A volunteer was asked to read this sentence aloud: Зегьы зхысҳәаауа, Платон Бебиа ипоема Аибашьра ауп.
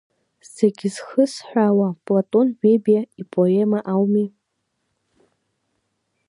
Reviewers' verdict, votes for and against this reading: rejected, 0, 2